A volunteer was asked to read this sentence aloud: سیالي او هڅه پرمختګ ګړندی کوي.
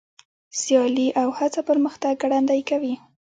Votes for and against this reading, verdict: 2, 1, accepted